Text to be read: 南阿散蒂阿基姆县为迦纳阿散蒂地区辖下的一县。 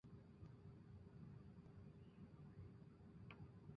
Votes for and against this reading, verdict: 1, 2, rejected